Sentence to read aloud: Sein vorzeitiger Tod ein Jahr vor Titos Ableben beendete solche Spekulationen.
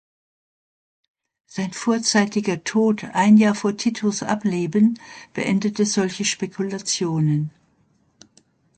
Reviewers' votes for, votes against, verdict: 3, 0, accepted